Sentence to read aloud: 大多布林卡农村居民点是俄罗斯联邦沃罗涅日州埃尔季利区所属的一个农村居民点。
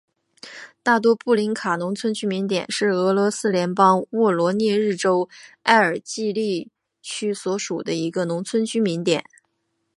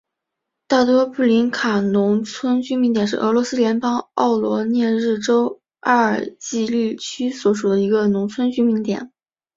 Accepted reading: first